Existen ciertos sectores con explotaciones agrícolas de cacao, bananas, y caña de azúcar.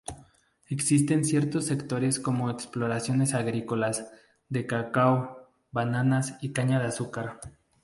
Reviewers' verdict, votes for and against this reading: rejected, 0, 2